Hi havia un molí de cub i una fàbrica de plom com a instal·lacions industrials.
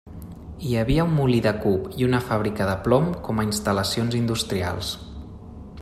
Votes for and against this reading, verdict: 3, 0, accepted